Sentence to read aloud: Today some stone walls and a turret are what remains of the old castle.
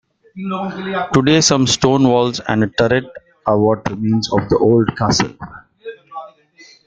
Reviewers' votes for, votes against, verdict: 2, 0, accepted